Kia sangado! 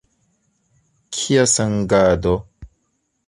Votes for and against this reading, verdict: 0, 2, rejected